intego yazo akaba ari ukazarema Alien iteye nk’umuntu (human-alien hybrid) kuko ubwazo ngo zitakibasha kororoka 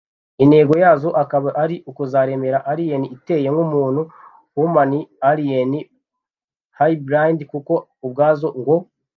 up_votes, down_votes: 0, 2